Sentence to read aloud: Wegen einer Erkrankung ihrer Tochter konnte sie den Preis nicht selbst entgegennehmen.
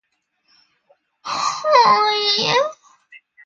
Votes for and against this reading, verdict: 0, 2, rejected